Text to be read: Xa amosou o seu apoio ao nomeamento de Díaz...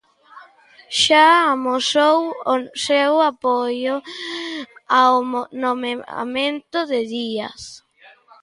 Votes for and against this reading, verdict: 0, 2, rejected